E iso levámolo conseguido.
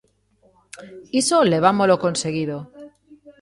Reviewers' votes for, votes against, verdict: 0, 2, rejected